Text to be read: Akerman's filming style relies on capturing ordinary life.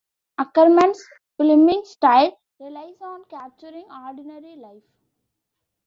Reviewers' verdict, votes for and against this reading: accepted, 2, 1